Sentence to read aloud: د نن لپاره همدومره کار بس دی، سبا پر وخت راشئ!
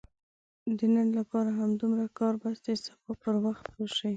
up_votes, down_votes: 2, 0